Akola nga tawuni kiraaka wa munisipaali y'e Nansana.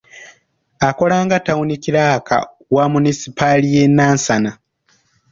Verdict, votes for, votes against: accepted, 2, 0